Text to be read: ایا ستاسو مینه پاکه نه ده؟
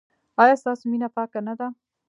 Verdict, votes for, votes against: rejected, 0, 2